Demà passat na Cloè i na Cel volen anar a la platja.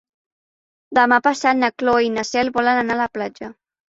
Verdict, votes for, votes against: accepted, 3, 0